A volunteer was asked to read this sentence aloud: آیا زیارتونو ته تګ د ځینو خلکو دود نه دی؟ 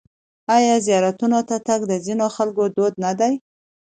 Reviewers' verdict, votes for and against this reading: accepted, 2, 0